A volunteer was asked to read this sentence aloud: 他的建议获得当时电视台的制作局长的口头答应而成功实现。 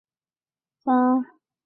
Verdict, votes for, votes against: rejected, 0, 2